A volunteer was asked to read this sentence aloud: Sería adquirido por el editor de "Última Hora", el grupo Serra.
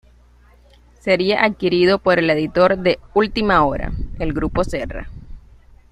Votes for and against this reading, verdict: 2, 0, accepted